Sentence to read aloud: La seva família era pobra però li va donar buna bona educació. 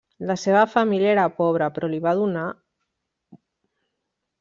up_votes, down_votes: 0, 2